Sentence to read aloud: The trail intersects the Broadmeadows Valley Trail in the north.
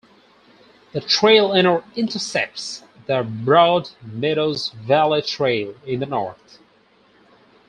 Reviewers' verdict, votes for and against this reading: rejected, 2, 4